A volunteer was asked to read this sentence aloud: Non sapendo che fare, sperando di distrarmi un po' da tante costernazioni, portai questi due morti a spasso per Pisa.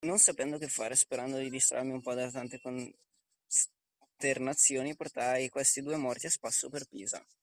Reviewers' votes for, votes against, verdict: 0, 2, rejected